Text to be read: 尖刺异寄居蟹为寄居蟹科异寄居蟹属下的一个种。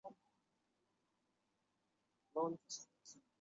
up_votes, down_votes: 1, 4